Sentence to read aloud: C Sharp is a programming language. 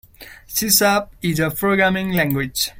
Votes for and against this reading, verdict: 2, 0, accepted